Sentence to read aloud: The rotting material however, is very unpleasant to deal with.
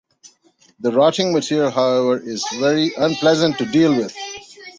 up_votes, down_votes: 2, 0